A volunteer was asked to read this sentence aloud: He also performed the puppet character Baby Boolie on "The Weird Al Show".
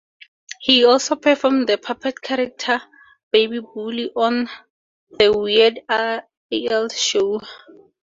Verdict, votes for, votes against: rejected, 0, 2